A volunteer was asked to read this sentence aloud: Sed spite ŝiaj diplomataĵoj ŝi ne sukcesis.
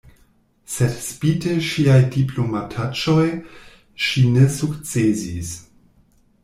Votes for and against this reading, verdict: 0, 2, rejected